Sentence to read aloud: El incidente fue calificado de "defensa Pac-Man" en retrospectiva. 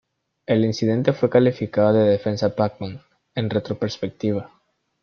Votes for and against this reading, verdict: 0, 3, rejected